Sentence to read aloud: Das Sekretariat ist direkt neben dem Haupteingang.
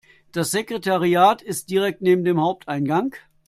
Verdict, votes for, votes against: accepted, 2, 0